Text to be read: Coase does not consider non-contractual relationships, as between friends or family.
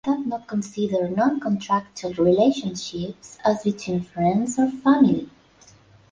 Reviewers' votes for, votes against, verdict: 1, 2, rejected